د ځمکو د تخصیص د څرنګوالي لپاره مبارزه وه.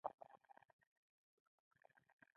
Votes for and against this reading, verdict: 0, 2, rejected